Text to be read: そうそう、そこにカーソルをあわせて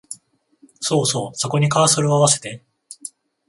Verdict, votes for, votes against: accepted, 14, 0